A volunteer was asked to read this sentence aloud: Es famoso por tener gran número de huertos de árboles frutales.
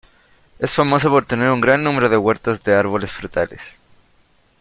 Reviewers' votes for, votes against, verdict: 0, 2, rejected